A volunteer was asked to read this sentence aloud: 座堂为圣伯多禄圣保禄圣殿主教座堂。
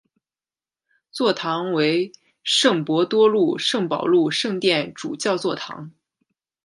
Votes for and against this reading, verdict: 2, 0, accepted